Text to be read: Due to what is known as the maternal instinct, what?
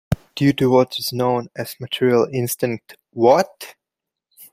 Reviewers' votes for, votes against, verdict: 0, 2, rejected